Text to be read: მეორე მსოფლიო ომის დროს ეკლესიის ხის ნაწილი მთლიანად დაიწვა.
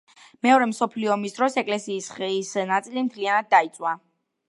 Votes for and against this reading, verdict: 0, 2, rejected